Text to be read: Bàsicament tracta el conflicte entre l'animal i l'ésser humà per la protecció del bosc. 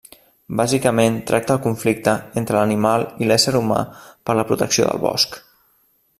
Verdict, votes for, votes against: accepted, 3, 0